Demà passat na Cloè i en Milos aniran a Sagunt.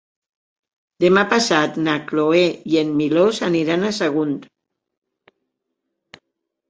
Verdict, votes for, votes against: accepted, 2, 0